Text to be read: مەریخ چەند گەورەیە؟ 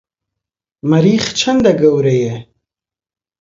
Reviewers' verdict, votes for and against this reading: rejected, 0, 2